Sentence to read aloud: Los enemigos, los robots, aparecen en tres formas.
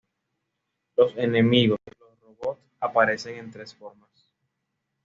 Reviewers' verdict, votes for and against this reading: rejected, 1, 2